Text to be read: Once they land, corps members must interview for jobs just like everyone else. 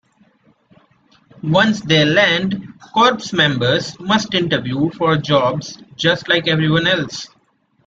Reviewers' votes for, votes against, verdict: 2, 0, accepted